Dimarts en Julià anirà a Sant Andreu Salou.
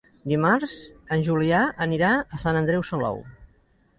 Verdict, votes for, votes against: accepted, 3, 0